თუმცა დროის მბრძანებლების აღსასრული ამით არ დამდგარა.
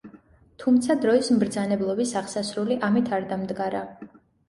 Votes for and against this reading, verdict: 0, 2, rejected